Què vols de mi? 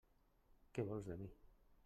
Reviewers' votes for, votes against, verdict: 1, 2, rejected